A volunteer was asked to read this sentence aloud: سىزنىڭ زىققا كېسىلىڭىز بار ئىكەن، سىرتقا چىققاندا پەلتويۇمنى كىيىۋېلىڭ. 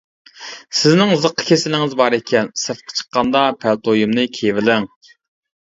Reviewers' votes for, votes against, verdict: 2, 0, accepted